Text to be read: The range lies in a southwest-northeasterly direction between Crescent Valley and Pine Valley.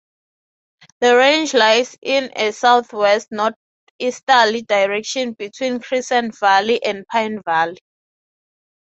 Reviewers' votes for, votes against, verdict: 18, 9, accepted